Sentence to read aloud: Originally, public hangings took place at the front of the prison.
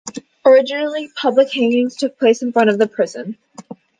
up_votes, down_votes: 2, 0